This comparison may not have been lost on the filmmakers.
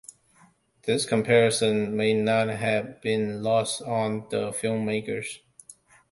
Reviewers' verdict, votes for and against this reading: accepted, 2, 0